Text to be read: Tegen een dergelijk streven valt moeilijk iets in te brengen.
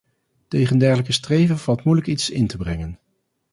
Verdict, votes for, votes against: rejected, 0, 2